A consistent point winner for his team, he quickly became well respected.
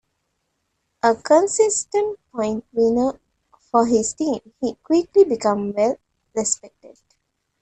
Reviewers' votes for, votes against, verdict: 1, 2, rejected